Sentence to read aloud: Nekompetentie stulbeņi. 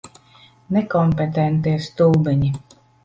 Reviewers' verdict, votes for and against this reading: accepted, 2, 0